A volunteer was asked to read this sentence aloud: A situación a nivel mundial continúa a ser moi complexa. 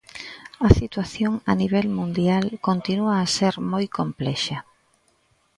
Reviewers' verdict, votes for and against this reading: rejected, 1, 2